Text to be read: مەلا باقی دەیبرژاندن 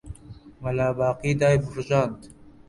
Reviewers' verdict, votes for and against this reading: rejected, 1, 2